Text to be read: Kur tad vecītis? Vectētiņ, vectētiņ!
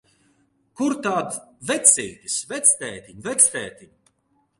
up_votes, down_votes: 0, 2